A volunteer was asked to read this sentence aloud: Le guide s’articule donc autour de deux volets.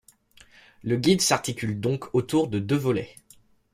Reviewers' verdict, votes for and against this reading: accepted, 3, 0